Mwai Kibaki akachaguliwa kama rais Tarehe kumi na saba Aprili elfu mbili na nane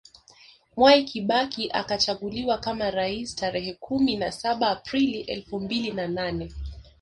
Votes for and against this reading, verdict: 2, 0, accepted